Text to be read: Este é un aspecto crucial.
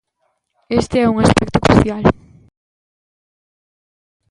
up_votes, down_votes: 0, 2